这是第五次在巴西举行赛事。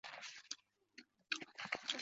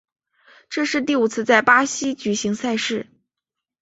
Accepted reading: second